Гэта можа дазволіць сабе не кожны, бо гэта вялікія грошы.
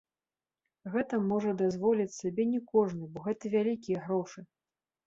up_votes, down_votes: 2, 0